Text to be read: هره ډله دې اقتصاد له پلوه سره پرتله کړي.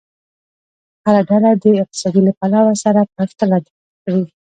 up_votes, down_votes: 1, 2